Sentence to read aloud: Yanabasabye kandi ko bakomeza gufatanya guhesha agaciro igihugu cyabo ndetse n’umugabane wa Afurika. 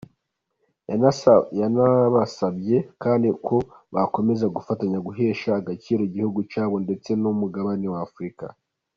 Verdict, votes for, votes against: rejected, 1, 2